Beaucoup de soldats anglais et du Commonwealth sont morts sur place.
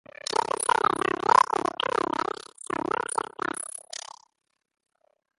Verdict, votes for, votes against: rejected, 0, 2